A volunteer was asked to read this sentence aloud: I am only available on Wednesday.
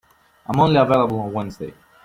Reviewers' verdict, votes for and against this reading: rejected, 0, 2